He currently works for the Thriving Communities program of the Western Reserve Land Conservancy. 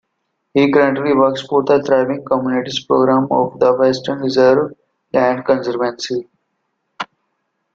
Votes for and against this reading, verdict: 0, 2, rejected